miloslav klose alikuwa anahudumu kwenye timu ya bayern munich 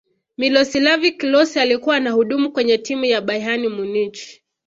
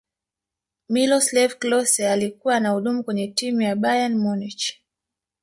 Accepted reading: second